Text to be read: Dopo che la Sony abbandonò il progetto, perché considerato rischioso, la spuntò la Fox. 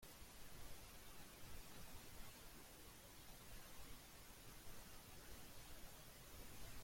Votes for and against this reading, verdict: 0, 3, rejected